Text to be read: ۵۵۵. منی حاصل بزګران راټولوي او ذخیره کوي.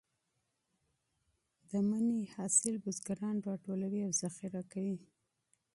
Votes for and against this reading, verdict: 0, 2, rejected